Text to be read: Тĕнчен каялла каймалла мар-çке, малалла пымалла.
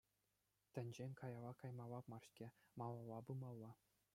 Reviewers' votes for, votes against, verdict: 2, 0, accepted